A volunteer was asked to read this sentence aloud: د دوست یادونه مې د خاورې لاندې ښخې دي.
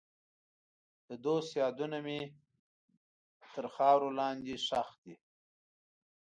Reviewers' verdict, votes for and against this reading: rejected, 0, 2